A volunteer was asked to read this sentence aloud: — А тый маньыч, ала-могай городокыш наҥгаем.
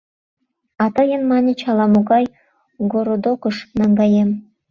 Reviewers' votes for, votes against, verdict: 1, 2, rejected